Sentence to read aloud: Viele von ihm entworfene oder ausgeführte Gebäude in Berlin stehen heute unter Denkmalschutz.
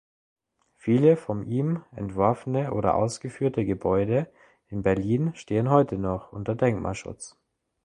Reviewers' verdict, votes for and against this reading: rejected, 1, 3